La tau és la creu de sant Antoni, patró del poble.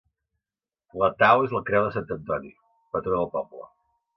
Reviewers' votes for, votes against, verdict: 2, 0, accepted